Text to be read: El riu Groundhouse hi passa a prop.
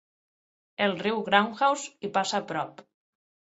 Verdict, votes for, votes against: accepted, 6, 0